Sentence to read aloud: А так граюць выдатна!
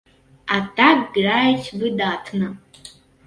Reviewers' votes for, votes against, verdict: 2, 0, accepted